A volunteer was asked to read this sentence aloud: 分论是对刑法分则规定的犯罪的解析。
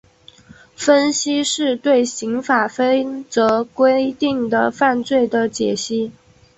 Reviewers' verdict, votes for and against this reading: rejected, 0, 2